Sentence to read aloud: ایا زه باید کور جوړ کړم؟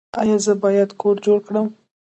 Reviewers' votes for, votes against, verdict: 2, 0, accepted